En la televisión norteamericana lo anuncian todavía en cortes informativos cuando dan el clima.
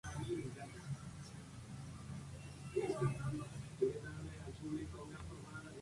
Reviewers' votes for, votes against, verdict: 0, 2, rejected